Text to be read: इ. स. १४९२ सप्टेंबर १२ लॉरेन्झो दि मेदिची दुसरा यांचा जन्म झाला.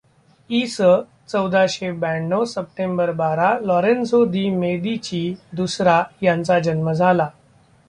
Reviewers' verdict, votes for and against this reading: rejected, 0, 2